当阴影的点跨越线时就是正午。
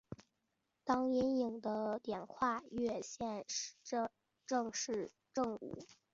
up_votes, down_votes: 1, 2